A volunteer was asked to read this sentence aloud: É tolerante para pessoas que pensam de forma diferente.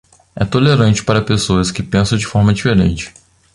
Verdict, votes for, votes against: accepted, 2, 1